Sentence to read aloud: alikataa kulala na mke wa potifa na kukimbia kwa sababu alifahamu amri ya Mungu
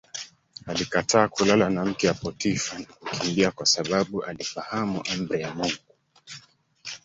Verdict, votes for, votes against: rejected, 1, 2